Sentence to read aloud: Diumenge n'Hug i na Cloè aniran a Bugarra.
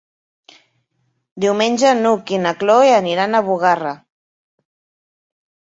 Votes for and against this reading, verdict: 3, 1, accepted